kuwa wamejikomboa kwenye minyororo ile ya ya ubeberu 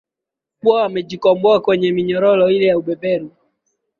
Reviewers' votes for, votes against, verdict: 2, 0, accepted